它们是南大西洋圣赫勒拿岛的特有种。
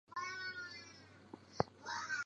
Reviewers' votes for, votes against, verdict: 1, 2, rejected